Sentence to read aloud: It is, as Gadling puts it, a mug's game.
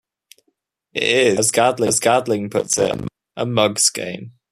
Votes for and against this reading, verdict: 0, 2, rejected